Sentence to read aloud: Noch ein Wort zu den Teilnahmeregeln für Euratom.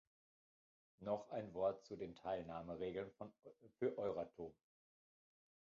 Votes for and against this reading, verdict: 0, 2, rejected